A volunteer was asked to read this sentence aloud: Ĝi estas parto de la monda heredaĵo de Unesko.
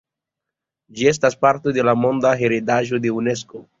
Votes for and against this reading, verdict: 2, 0, accepted